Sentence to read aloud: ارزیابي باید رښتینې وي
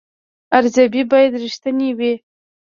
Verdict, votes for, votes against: rejected, 1, 2